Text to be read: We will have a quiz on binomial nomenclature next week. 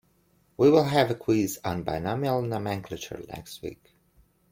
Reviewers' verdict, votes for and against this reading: accepted, 2, 0